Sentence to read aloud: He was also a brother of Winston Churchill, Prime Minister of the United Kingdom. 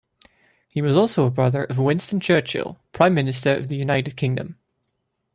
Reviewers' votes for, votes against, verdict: 2, 0, accepted